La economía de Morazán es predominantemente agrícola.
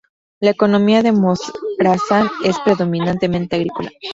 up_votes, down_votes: 0, 2